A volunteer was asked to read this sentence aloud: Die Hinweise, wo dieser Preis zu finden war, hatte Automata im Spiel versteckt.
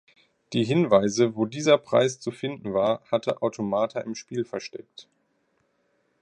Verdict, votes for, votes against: accepted, 3, 1